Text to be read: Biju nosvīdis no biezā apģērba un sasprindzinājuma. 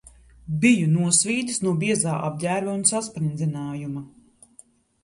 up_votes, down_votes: 0, 2